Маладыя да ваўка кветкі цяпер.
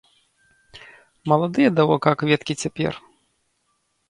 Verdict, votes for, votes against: rejected, 1, 2